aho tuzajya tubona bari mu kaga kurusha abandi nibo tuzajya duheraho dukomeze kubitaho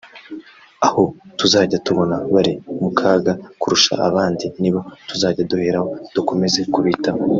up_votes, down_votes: 2, 0